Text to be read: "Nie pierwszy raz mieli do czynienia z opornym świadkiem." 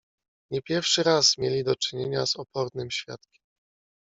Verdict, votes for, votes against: rejected, 1, 2